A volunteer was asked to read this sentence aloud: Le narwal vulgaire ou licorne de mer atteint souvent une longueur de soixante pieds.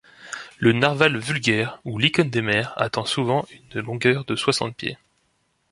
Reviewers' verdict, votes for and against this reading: accepted, 2, 0